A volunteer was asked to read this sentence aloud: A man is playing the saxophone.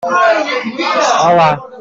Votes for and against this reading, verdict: 0, 2, rejected